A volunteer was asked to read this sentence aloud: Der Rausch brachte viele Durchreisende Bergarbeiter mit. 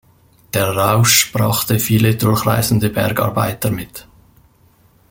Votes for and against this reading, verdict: 2, 0, accepted